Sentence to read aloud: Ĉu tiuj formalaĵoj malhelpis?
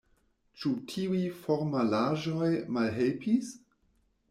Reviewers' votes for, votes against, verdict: 2, 0, accepted